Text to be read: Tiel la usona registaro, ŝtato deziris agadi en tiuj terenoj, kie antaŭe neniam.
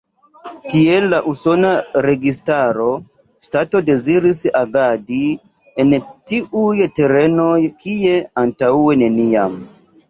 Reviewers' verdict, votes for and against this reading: rejected, 2, 3